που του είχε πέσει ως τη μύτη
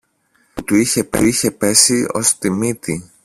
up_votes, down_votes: 0, 2